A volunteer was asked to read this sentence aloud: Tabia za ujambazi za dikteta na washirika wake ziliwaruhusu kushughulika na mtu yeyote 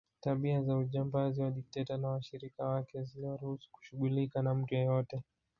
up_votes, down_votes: 0, 2